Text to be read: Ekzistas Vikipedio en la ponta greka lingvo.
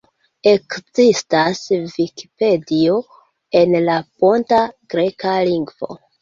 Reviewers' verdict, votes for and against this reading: accepted, 2, 0